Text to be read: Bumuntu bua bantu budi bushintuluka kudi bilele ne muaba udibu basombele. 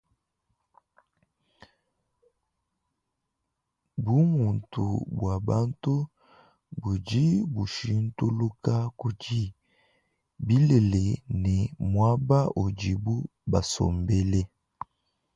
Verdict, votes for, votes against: accepted, 2, 0